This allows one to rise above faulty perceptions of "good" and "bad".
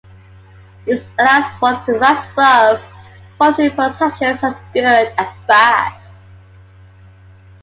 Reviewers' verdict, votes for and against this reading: rejected, 0, 2